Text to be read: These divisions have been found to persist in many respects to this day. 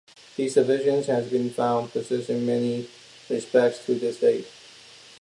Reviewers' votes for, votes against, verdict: 2, 0, accepted